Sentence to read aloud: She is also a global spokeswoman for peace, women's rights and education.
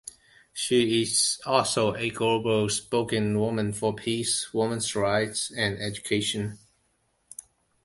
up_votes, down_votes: 0, 2